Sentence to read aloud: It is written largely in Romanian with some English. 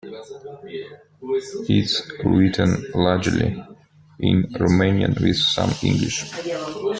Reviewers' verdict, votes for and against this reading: accepted, 2, 0